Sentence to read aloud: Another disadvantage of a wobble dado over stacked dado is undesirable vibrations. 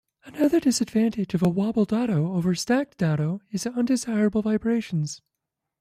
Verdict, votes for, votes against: rejected, 0, 2